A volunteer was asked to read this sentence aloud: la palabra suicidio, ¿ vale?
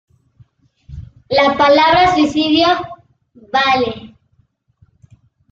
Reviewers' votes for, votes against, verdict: 1, 2, rejected